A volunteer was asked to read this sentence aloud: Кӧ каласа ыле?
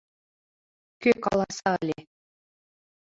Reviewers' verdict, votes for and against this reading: accepted, 2, 0